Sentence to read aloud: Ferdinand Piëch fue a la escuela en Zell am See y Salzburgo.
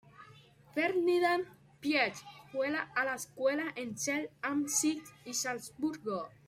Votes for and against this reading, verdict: 0, 2, rejected